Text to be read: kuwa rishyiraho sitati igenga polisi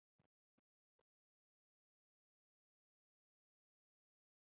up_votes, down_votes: 1, 2